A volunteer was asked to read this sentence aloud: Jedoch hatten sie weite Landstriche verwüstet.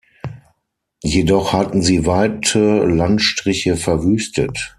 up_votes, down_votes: 6, 0